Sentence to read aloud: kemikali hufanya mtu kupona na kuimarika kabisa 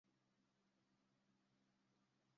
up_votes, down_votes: 0, 2